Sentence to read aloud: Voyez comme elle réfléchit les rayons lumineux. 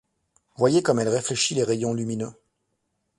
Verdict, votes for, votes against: accepted, 2, 0